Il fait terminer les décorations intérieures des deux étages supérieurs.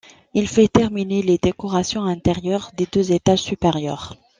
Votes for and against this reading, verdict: 2, 0, accepted